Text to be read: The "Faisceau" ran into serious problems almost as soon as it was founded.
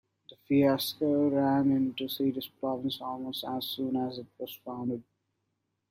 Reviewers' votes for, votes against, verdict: 1, 2, rejected